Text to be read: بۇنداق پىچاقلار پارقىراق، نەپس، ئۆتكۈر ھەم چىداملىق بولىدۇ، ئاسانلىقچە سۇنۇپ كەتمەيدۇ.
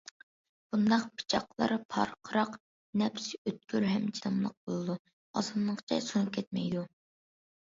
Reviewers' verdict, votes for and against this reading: accepted, 2, 0